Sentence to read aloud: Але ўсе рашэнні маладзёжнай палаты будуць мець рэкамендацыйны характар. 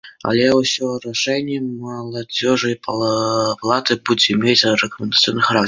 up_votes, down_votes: 0, 2